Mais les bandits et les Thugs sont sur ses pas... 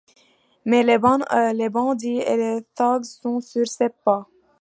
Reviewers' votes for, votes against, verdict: 1, 2, rejected